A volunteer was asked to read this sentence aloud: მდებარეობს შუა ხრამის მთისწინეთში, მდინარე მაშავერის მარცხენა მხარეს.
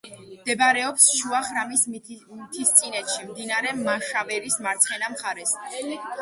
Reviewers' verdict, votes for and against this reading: rejected, 1, 2